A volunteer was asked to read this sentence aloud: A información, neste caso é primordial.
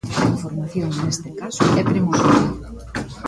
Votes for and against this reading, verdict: 1, 2, rejected